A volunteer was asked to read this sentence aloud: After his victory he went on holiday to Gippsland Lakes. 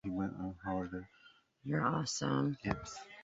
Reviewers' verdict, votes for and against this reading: rejected, 0, 2